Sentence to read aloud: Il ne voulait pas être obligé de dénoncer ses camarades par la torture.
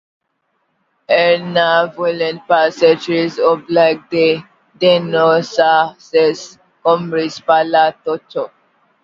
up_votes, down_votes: 1, 2